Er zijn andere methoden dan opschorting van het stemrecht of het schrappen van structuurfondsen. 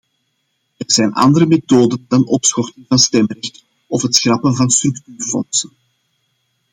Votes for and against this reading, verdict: 1, 2, rejected